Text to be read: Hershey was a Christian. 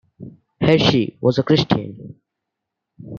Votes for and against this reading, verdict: 2, 0, accepted